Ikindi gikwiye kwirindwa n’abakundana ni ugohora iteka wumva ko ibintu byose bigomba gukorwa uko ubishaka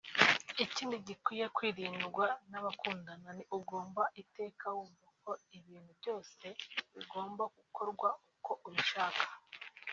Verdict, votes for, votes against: rejected, 0, 2